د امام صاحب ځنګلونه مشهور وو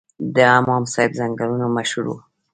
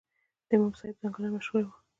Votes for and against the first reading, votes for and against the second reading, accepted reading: 2, 0, 1, 2, first